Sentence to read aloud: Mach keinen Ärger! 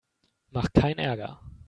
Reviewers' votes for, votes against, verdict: 1, 2, rejected